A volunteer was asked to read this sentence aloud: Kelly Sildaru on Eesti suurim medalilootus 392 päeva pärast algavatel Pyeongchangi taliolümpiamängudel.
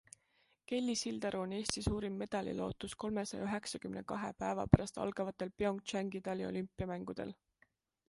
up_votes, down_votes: 0, 2